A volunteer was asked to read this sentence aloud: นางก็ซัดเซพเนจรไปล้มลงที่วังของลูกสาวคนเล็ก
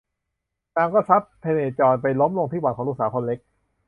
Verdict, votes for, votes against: rejected, 0, 2